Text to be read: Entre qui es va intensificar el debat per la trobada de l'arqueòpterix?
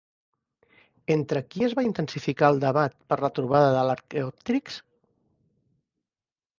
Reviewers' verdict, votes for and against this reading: rejected, 0, 2